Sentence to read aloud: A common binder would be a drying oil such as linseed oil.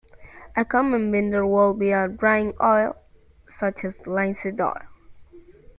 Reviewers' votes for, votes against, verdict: 2, 1, accepted